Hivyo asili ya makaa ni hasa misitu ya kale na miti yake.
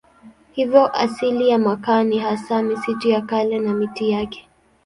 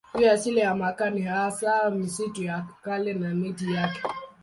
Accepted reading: first